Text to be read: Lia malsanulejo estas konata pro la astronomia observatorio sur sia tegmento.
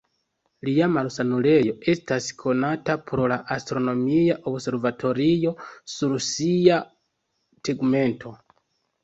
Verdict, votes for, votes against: accepted, 3, 0